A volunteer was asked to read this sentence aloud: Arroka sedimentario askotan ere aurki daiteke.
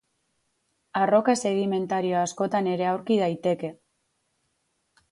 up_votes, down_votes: 6, 0